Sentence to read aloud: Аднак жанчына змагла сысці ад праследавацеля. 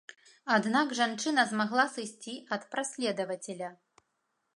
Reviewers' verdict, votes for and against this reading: accepted, 2, 0